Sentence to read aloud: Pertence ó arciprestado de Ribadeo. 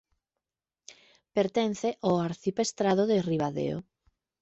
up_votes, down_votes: 1, 2